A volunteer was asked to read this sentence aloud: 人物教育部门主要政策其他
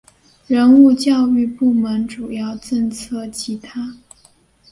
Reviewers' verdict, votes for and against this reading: accepted, 2, 0